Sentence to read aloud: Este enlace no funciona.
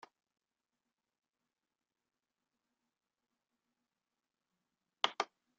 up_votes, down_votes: 1, 2